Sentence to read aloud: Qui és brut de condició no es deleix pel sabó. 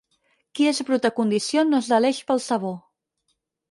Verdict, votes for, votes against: accepted, 4, 0